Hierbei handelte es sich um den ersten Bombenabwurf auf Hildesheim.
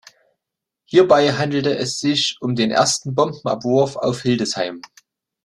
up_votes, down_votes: 2, 0